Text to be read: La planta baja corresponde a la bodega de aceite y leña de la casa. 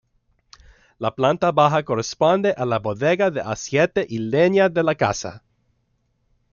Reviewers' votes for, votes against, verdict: 0, 2, rejected